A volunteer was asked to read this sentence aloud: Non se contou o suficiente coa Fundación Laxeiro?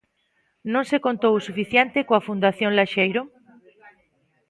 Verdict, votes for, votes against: accepted, 2, 0